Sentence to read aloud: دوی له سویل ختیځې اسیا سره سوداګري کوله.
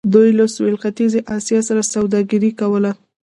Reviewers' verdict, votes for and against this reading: rejected, 1, 2